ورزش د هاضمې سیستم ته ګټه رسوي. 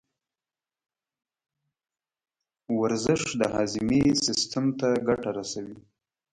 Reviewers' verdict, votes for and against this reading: rejected, 0, 2